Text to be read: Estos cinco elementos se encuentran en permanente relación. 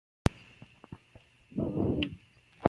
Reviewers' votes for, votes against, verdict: 0, 2, rejected